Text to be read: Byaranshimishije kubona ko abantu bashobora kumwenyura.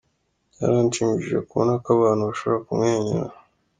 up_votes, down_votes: 2, 0